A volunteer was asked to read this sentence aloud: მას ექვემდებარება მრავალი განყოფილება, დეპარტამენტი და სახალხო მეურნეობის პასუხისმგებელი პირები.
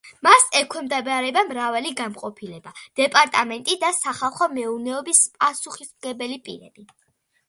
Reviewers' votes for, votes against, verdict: 2, 0, accepted